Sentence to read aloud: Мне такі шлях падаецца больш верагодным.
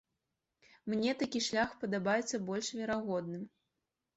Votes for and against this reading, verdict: 1, 2, rejected